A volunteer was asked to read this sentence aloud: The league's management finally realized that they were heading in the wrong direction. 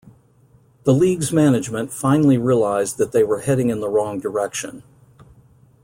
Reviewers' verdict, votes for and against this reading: accepted, 2, 0